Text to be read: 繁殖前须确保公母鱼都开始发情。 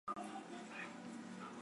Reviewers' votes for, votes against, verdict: 0, 4, rejected